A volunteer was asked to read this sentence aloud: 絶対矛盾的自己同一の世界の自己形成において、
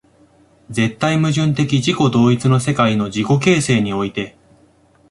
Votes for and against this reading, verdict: 2, 0, accepted